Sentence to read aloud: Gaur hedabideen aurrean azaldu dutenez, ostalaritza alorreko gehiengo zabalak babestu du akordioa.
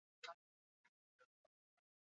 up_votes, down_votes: 0, 4